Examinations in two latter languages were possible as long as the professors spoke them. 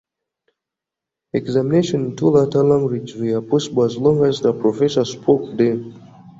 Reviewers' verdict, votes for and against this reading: rejected, 0, 2